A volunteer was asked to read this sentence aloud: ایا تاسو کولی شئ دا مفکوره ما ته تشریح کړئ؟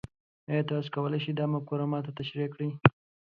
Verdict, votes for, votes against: accepted, 2, 0